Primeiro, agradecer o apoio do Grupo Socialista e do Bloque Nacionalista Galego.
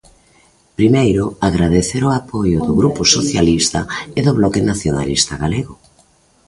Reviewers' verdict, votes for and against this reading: accepted, 2, 0